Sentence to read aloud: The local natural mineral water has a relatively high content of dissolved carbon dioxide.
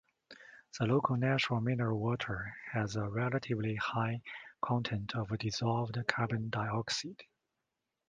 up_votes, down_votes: 0, 2